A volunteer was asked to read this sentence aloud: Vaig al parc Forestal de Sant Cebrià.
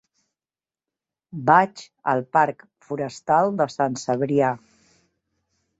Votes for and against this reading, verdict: 2, 0, accepted